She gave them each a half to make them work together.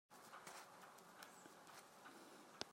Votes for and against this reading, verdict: 0, 3, rejected